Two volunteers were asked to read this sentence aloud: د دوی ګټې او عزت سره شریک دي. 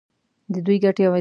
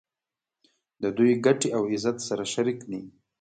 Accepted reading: second